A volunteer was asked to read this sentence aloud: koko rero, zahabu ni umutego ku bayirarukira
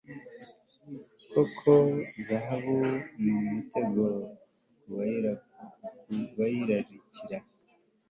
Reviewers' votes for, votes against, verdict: 0, 2, rejected